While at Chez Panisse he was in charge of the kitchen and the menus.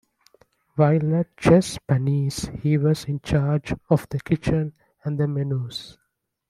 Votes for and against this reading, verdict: 2, 1, accepted